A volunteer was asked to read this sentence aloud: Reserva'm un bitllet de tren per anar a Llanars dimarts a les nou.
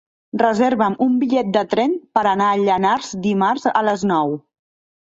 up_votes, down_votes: 3, 0